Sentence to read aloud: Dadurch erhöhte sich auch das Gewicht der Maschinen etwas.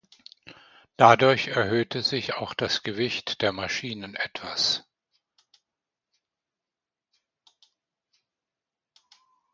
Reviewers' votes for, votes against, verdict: 2, 0, accepted